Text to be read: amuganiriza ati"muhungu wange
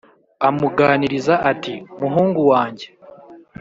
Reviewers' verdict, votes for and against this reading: accepted, 2, 0